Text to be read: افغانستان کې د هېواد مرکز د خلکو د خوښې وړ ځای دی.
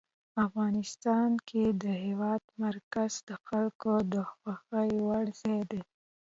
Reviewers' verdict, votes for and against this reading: accepted, 2, 0